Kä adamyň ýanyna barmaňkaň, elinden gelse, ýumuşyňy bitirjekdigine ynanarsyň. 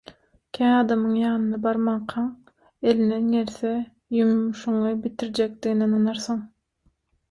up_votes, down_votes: 3, 3